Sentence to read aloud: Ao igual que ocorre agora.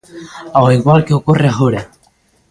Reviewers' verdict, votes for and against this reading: accepted, 2, 1